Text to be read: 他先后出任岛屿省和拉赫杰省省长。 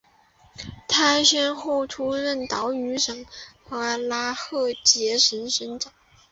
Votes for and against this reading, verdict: 3, 1, accepted